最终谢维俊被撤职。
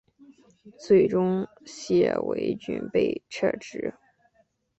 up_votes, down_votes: 6, 0